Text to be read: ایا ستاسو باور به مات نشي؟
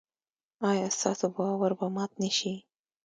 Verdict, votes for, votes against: rejected, 0, 2